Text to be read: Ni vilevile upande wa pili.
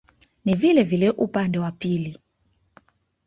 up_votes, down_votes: 1, 2